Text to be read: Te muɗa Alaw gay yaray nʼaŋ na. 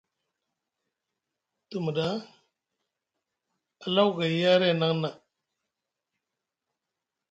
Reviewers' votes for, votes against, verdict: 2, 0, accepted